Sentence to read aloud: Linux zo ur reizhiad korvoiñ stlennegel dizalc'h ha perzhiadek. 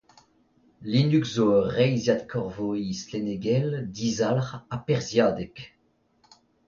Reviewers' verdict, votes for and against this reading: accepted, 2, 0